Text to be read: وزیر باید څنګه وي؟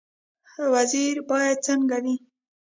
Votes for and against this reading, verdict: 0, 2, rejected